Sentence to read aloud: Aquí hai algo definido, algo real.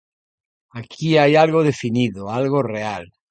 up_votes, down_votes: 0, 2